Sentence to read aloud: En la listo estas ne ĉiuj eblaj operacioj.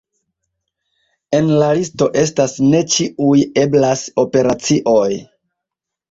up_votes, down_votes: 1, 2